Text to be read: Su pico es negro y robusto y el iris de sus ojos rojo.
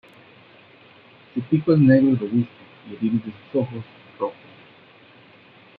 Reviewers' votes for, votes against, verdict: 0, 2, rejected